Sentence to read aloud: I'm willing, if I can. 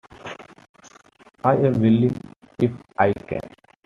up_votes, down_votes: 1, 2